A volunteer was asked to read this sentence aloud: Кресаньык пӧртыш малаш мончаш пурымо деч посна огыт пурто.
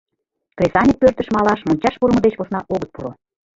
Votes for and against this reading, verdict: 2, 3, rejected